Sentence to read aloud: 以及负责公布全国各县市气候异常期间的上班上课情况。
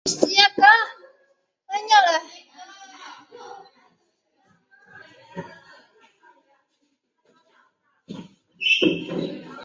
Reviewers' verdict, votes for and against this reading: rejected, 0, 3